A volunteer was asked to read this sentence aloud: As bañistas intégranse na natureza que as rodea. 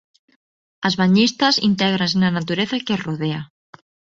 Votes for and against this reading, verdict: 0, 2, rejected